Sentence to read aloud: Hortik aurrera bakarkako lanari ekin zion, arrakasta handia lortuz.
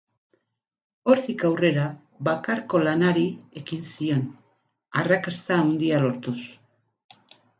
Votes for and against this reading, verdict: 0, 4, rejected